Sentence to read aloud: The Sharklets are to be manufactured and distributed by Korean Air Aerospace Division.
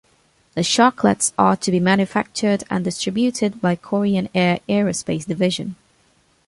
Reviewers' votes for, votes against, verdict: 2, 0, accepted